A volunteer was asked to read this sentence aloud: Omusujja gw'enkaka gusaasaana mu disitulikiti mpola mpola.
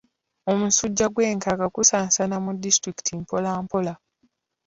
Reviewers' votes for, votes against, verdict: 2, 0, accepted